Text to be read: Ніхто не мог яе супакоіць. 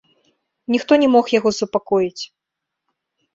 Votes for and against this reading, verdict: 1, 2, rejected